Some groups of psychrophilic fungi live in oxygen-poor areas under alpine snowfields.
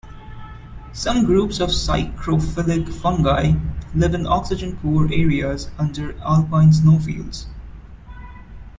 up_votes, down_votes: 2, 0